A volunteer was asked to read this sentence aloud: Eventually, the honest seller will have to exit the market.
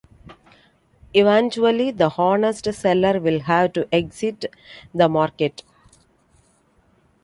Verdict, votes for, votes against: accepted, 2, 0